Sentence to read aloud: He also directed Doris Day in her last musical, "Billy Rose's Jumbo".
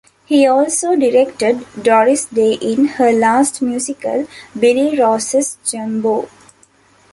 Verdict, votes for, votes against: accepted, 2, 0